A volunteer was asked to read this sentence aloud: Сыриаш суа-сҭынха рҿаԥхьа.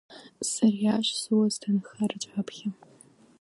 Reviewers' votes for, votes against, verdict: 0, 2, rejected